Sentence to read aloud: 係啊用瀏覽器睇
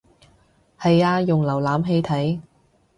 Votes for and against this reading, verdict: 2, 0, accepted